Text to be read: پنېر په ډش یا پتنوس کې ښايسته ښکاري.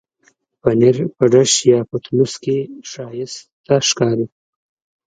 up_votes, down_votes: 2, 1